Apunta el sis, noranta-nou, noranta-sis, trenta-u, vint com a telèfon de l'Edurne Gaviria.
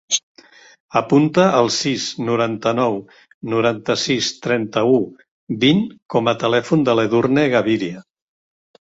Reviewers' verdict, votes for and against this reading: accepted, 2, 0